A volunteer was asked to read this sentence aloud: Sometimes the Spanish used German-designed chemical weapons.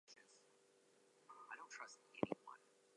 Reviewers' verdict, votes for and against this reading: rejected, 0, 2